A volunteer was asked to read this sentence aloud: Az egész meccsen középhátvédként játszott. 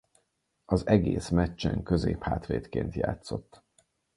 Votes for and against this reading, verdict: 4, 0, accepted